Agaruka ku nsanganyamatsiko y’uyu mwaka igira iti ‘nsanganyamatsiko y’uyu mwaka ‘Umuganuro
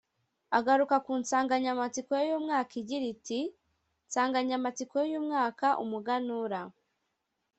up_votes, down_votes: 1, 2